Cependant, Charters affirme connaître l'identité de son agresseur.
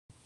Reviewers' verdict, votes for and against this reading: rejected, 0, 2